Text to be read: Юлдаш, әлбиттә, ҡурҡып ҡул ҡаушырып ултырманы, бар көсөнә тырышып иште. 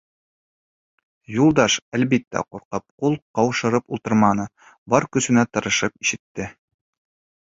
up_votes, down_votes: 0, 3